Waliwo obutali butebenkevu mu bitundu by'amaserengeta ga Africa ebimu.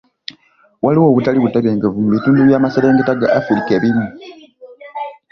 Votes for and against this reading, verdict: 2, 0, accepted